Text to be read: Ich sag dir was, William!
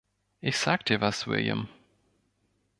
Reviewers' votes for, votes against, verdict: 4, 0, accepted